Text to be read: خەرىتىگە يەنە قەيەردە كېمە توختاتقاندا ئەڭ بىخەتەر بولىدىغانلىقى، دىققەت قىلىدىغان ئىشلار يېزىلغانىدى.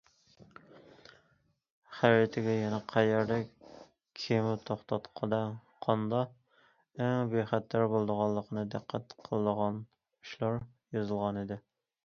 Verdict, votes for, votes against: rejected, 0, 2